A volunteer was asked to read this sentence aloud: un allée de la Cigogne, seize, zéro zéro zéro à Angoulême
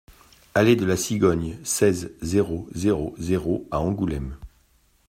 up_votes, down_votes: 1, 2